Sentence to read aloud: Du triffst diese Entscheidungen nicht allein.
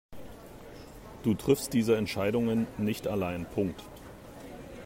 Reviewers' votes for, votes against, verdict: 0, 2, rejected